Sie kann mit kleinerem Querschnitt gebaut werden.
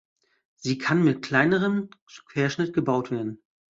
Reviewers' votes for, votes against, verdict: 1, 2, rejected